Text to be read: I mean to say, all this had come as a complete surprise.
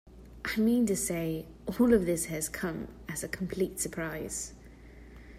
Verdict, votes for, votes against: rejected, 1, 2